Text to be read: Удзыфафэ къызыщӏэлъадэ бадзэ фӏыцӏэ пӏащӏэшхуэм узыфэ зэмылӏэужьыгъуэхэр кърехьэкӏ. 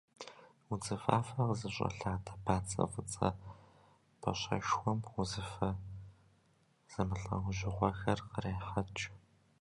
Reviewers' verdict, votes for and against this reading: rejected, 1, 2